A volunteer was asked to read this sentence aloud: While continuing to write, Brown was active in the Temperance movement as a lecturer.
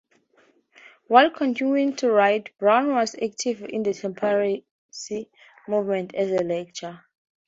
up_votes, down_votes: 2, 0